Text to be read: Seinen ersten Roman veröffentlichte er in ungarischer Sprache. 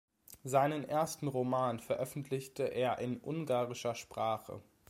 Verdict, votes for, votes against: accepted, 2, 0